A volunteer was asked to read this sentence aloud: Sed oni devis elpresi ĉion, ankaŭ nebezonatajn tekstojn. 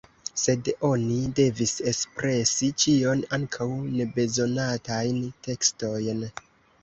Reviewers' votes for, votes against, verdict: 0, 2, rejected